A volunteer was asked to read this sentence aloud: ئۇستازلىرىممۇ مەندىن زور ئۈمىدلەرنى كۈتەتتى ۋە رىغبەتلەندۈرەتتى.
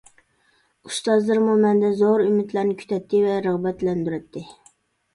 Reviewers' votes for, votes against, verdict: 2, 0, accepted